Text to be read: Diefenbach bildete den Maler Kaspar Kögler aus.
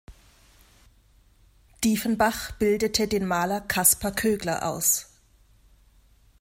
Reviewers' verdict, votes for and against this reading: accepted, 2, 0